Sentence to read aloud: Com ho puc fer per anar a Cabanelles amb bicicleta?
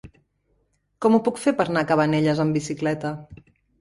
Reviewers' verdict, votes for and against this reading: rejected, 0, 2